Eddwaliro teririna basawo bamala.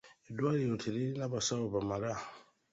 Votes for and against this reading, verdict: 2, 0, accepted